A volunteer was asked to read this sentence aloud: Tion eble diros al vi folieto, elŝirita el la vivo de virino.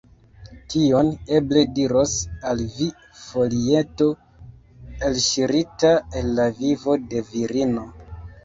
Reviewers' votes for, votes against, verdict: 2, 1, accepted